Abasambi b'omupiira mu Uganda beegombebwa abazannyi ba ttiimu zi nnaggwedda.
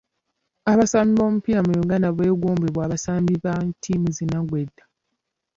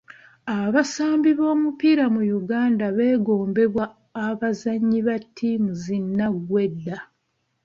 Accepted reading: second